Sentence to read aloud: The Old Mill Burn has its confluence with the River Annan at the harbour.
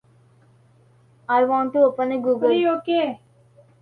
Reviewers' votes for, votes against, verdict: 0, 2, rejected